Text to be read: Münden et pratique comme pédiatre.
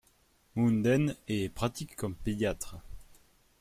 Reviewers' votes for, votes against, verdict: 2, 0, accepted